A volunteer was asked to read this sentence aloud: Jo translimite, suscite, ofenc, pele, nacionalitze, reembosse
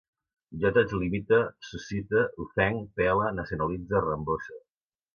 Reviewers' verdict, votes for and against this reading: rejected, 1, 2